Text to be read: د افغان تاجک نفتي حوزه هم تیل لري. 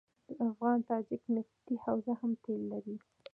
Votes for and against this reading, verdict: 0, 2, rejected